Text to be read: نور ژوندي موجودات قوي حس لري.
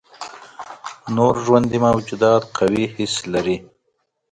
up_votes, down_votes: 0, 2